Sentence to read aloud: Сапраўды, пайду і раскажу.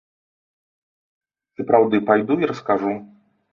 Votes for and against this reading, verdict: 1, 2, rejected